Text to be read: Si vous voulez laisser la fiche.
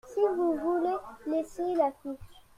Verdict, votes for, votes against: rejected, 1, 2